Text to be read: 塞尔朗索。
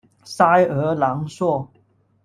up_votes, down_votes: 1, 2